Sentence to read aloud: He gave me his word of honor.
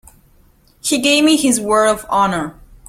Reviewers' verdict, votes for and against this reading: rejected, 1, 2